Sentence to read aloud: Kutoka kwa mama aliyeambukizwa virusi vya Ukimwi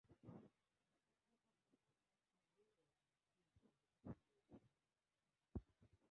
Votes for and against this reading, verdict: 1, 2, rejected